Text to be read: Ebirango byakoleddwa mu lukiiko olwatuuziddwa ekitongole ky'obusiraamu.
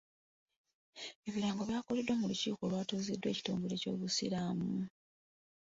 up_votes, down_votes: 0, 2